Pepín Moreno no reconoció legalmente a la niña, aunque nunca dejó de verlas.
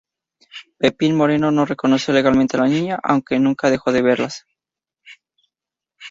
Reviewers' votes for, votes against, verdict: 2, 0, accepted